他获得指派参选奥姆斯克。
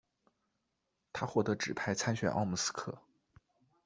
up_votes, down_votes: 2, 0